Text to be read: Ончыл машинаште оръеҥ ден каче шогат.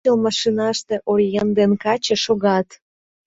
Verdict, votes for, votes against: rejected, 0, 2